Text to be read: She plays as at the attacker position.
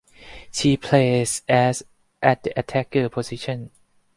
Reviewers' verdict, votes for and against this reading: accepted, 2, 0